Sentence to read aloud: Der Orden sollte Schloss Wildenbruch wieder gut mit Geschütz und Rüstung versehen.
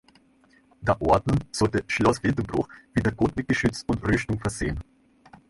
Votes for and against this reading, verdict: 0, 2, rejected